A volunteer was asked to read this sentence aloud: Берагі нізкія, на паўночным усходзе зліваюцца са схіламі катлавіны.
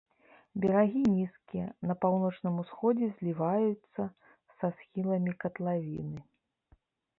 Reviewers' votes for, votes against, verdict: 2, 0, accepted